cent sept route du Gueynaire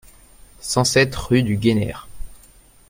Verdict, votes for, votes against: accepted, 2, 0